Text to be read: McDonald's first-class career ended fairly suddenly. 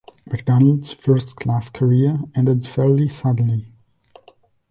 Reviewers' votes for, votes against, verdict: 2, 0, accepted